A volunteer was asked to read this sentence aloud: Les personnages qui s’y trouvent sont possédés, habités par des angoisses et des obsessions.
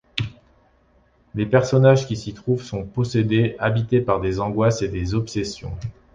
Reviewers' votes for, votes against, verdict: 2, 0, accepted